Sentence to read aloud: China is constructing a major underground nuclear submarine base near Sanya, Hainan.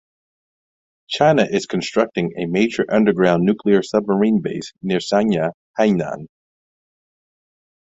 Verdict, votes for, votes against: accepted, 2, 0